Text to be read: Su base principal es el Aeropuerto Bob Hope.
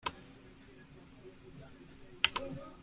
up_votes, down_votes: 0, 2